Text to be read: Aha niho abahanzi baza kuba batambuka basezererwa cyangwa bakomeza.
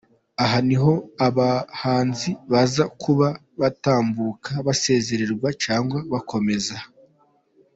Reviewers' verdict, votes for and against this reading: accepted, 3, 0